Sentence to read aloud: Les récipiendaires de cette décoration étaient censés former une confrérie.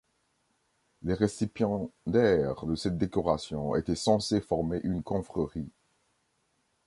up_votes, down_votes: 0, 2